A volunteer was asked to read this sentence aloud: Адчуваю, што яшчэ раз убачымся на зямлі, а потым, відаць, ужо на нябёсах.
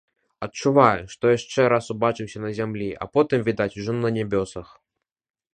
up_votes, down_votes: 2, 1